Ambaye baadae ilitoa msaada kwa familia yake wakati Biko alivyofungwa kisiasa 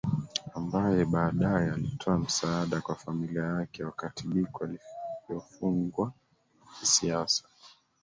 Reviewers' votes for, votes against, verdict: 1, 2, rejected